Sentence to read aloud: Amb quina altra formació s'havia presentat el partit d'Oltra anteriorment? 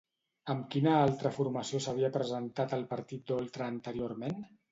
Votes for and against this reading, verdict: 2, 0, accepted